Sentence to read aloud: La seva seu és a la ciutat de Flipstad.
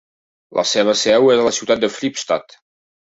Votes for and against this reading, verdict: 0, 2, rejected